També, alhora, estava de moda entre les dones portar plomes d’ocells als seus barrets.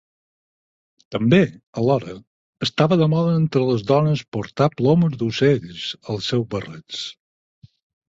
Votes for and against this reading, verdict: 4, 0, accepted